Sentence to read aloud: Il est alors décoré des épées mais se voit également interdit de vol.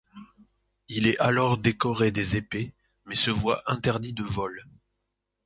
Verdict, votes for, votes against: rejected, 1, 2